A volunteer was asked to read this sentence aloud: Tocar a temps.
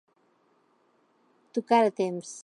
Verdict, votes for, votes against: accepted, 2, 0